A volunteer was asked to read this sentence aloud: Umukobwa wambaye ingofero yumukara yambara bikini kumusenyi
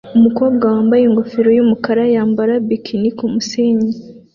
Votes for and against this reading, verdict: 2, 0, accepted